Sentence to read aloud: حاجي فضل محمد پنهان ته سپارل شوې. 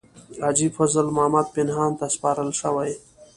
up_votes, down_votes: 1, 2